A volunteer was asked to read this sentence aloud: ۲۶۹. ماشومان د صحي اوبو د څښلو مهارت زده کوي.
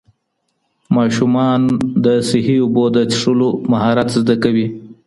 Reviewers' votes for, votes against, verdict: 0, 2, rejected